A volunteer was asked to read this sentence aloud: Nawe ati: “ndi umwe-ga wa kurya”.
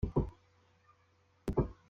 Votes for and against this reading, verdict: 0, 2, rejected